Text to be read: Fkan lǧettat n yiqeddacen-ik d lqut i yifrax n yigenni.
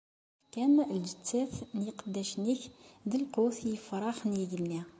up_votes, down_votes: 2, 0